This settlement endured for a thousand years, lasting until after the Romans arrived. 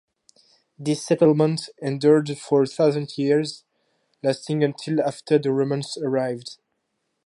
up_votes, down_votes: 4, 0